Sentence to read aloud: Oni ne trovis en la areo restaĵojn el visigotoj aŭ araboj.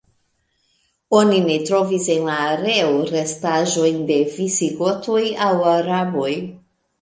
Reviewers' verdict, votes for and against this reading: rejected, 1, 2